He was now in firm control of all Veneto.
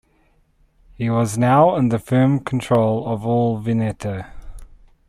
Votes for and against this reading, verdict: 1, 2, rejected